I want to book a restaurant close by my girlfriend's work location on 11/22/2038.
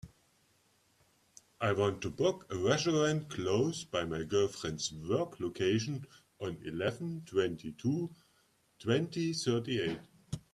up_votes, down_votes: 0, 2